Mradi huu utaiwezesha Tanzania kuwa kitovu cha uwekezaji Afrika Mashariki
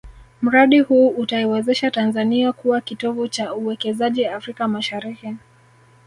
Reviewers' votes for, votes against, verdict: 1, 2, rejected